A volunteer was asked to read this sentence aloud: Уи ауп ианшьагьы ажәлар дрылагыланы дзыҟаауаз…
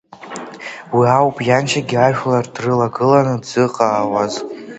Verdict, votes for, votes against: accepted, 2, 1